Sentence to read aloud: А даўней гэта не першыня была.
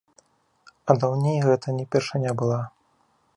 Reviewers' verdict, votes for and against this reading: accepted, 2, 0